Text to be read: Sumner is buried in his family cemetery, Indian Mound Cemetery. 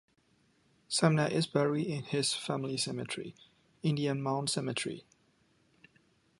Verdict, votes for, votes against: accepted, 2, 1